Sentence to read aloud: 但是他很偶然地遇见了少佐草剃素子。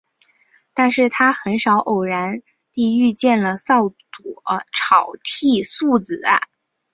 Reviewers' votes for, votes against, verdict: 4, 0, accepted